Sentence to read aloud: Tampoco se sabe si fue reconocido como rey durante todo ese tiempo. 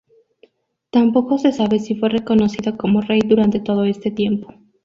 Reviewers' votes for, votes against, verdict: 0, 2, rejected